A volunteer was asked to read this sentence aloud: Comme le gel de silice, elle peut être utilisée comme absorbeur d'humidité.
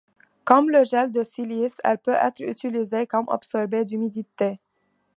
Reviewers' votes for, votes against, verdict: 2, 3, rejected